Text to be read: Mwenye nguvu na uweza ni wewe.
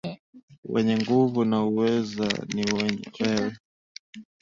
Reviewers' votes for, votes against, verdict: 10, 6, accepted